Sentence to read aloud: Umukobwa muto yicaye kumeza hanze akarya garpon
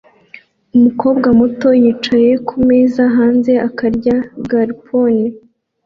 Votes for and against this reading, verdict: 2, 0, accepted